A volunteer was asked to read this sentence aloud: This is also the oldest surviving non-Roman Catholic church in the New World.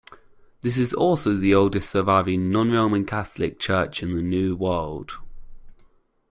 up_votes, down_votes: 2, 0